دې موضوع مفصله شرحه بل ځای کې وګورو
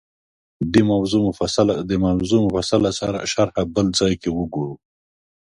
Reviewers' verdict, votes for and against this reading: rejected, 1, 2